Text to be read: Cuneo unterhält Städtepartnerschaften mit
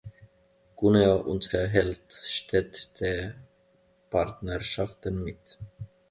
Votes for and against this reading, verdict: 1, 2, rejected